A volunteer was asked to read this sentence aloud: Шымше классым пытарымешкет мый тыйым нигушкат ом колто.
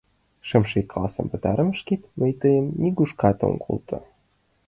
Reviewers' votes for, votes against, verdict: 3, 2, accepted